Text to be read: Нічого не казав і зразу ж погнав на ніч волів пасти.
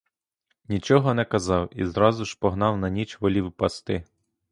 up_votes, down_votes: 2, 0